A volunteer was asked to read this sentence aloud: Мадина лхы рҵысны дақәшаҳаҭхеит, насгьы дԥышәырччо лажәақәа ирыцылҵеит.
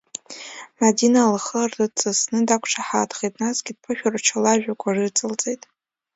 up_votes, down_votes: 2, 0